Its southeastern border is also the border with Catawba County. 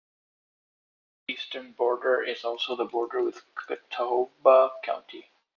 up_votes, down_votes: 0, 2